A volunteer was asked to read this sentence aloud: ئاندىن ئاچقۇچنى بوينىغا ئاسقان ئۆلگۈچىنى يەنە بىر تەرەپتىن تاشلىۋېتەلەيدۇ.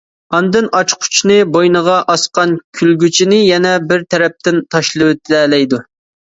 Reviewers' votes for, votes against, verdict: 0, 2, rejected